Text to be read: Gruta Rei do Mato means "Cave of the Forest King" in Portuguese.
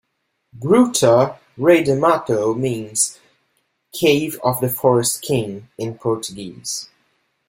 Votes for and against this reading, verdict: 2, 0, accepted